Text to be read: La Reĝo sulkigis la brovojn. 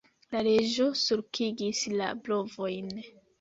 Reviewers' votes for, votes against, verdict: 2, 0, accepted